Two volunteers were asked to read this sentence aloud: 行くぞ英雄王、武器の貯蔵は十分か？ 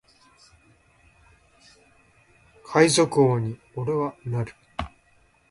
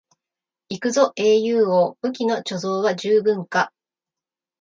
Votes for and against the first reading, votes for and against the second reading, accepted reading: 0, 4, 2, 0, second